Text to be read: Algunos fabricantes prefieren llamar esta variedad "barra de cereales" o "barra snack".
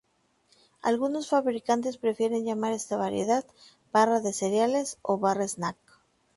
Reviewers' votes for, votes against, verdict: 2, 2, rejected